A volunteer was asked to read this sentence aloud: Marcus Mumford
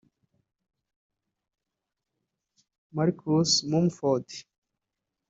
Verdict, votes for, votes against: rejected, 1, 2